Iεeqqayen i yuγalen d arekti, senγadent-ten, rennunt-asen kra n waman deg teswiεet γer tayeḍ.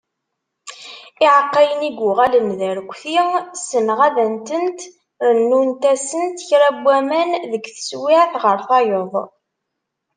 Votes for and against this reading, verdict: 0, 2, rejected